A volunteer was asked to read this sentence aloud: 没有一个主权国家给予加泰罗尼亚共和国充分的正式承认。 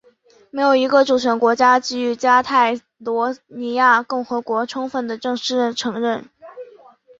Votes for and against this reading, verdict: 2, 0, accepted